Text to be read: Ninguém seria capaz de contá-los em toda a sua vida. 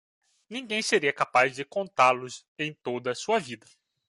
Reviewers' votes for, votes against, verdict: 2, 0, accepted